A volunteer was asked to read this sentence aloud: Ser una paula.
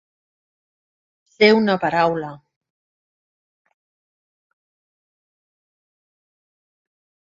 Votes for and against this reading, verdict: 0, 2, rejected